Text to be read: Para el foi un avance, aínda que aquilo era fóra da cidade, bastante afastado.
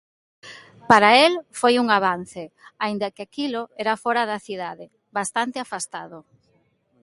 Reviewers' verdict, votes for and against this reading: accepted, 2, 0